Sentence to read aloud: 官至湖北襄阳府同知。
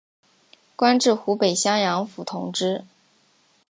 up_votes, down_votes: 2, 0